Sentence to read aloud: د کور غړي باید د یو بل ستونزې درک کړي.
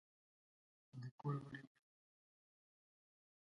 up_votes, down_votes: 1, 2